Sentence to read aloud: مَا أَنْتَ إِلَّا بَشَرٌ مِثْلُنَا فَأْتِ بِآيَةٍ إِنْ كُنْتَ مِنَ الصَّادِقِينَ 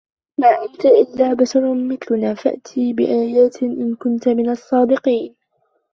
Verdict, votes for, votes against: rejected, 1, 2